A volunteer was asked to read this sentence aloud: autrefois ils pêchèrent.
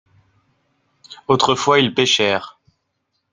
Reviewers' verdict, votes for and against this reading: accepted, 2, 0